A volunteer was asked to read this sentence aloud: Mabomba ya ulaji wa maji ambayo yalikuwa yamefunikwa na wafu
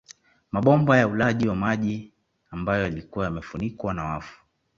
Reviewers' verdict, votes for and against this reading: accepted, 2, 0